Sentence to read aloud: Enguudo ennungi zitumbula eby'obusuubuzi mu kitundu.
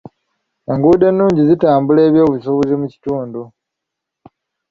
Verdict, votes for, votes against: rejected, 0, 2